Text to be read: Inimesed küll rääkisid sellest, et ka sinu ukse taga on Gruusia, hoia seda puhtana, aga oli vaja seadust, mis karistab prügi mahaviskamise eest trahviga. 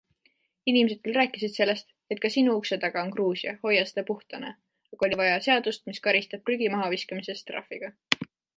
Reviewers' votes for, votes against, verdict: 2, 0, accepted